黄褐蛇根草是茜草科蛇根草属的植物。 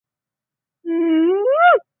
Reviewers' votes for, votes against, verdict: 0, 2, rejected